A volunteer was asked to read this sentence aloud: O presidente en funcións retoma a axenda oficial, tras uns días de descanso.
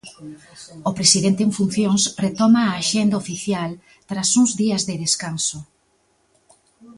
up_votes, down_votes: 1, 2